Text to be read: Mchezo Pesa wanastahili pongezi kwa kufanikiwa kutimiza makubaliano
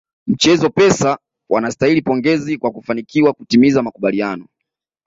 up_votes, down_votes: 2, 0